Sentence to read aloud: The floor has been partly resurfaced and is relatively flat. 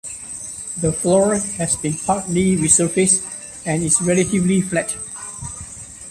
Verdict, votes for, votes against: rejected, 0, 2